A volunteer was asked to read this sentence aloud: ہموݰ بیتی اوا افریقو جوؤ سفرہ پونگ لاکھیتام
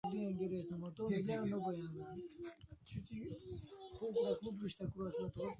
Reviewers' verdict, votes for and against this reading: rejected, 0, 2